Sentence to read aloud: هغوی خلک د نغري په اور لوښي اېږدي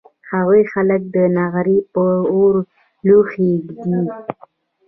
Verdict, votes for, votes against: accepted, 2, 0